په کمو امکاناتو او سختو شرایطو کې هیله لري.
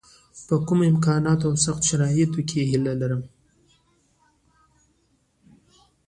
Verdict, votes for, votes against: accepted, 2, 0